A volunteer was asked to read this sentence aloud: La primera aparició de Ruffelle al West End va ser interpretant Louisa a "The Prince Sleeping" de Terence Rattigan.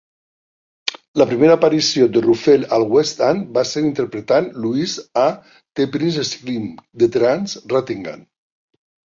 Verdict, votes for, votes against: accepted, 2, 1